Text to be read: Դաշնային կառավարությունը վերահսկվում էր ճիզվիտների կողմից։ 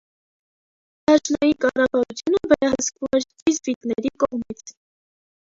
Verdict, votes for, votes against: rejected, 0, 2